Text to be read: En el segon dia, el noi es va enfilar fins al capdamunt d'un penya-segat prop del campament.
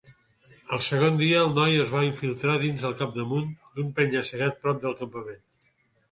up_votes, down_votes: 0, 2